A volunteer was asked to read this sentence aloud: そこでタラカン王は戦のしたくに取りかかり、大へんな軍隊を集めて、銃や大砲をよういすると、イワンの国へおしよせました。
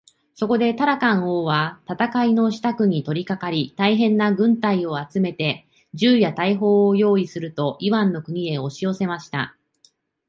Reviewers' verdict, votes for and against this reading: accepted, 2, 0